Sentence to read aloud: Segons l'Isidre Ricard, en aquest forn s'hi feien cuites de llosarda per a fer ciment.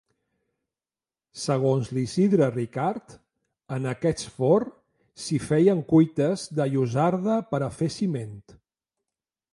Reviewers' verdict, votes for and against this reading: accepted, 3, 0